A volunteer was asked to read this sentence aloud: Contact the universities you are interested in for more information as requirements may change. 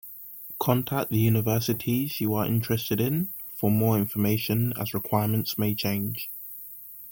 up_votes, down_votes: 2, 0